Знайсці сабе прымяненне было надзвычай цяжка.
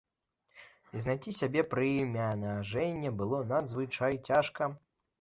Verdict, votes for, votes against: rejected, 1, 2